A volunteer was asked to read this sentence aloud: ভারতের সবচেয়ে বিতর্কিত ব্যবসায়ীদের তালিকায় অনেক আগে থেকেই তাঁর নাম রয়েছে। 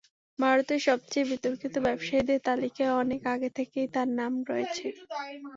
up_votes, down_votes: 3, 0